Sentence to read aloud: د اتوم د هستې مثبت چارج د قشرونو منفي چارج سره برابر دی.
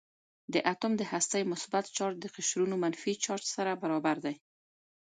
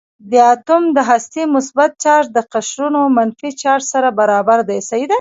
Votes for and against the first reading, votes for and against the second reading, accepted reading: 2, 0, 1, 2, first